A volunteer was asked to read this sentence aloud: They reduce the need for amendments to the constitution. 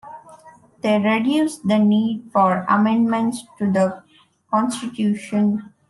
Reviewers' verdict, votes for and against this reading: accepted, 2, 0